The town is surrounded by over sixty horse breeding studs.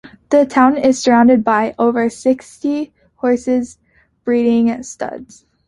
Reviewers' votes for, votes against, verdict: 0, 2, rejected